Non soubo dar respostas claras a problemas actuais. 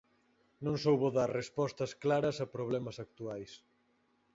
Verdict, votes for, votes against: accepted, 4, 0